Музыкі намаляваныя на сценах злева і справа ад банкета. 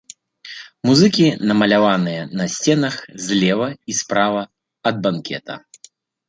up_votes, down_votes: 2, 0